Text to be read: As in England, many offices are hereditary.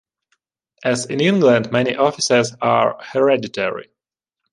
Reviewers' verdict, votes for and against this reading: rejected, 0, 2